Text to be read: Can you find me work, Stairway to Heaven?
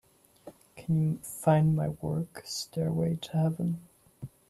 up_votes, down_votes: 0, 2